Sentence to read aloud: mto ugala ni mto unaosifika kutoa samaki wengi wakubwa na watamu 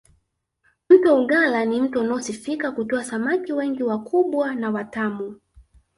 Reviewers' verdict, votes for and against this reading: accepted, 2, 0